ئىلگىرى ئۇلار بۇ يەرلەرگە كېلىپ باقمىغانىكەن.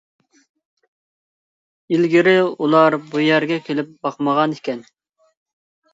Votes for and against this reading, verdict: 0, 2, rejected